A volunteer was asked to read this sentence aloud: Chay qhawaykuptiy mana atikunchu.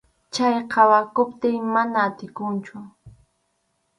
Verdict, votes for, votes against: rejected, 0, 2